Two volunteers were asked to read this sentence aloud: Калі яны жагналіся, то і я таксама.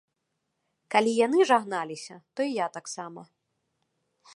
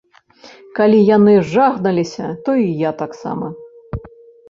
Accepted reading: first